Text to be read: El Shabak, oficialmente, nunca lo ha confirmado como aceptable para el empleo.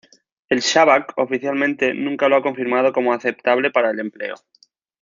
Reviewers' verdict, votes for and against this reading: accepted, 2, 0